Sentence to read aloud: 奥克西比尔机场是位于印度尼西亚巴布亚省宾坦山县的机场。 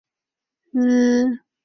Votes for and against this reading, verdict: 1, 2, rejected